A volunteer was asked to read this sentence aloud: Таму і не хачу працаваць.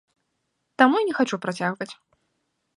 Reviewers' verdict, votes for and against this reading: rejected, 1, 2